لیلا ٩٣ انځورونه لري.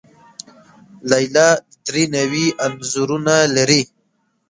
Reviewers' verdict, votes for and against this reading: rejected, 0, 2